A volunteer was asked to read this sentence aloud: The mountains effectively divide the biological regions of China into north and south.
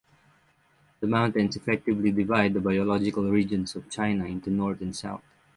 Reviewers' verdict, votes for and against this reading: accepted, 6, 0